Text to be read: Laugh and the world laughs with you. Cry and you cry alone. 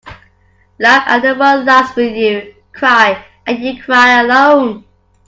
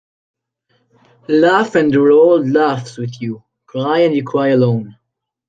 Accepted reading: first